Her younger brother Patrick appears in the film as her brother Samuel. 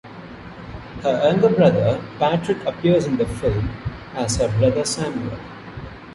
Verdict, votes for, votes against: accepted, 2, 1